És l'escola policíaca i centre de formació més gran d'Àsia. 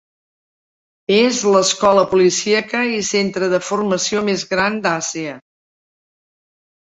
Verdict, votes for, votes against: accepted, 5, 0